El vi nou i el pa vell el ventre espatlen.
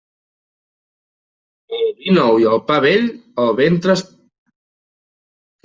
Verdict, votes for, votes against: rejected, 0, 2